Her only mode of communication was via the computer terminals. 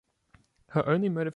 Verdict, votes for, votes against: rejected, 0, 2